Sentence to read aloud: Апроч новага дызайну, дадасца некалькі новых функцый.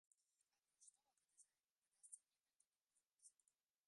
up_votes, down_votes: 0, 2